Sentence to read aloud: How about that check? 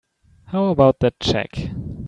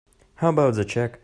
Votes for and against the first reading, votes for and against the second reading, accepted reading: 2, 0, 1, 2, first